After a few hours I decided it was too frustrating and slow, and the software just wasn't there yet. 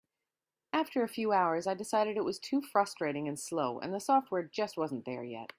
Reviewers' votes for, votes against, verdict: 2, 0, accepted